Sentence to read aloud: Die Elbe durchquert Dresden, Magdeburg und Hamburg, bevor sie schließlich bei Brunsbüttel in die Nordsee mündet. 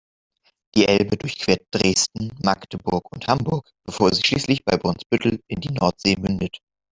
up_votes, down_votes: 9, 0